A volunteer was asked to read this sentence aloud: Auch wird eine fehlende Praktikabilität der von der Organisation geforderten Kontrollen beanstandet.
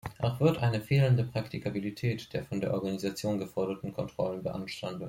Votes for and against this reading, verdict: 2, 0, accepted